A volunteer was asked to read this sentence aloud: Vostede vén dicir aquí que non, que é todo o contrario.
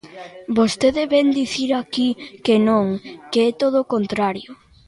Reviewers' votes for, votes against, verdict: 0, 2, rejected